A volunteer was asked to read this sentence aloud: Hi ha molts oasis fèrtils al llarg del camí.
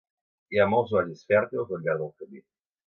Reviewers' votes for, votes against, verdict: 1, 2, rejected